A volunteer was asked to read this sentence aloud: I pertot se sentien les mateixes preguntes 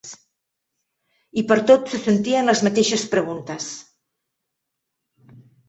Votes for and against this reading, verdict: 2, 0, accepted